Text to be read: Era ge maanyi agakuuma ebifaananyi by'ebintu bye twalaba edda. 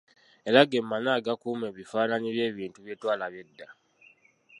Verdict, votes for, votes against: rejected, 1, 2